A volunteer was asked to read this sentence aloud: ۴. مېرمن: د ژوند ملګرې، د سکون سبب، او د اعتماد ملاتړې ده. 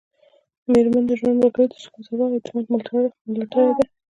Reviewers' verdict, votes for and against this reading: rejected, 0, 2